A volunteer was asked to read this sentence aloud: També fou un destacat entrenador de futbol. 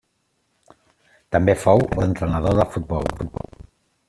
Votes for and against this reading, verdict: 0, 2, rejected